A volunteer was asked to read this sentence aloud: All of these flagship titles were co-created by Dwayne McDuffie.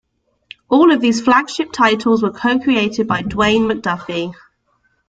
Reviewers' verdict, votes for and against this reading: accepted, 2, 0